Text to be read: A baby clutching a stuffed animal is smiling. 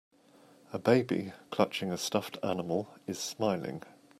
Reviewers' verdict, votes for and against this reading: accepted, 2, 0